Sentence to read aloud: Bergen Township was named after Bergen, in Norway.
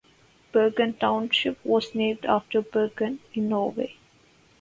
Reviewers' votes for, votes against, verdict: 4, 0, accepted